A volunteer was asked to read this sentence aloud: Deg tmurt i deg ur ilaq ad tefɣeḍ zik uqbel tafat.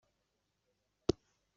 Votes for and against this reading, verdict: 0, 2, rejected